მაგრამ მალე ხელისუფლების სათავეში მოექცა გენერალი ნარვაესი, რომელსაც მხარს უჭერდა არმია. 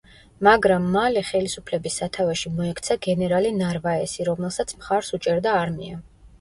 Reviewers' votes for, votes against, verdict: 2, 0, accepted